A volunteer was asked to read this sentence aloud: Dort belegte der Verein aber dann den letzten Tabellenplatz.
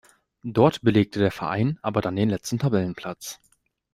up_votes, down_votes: 2, 1